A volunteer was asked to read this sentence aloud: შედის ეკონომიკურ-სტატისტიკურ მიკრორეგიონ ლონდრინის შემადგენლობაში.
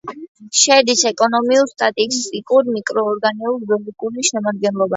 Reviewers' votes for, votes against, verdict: 0, 2, rejected